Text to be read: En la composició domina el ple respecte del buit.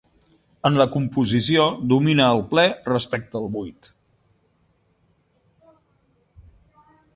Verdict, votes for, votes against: accepted, 2, 0